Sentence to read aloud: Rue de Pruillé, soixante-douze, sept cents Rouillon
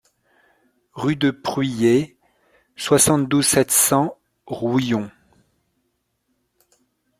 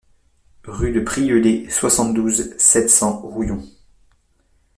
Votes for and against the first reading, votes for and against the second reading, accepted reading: 2, 0, 0, 2, first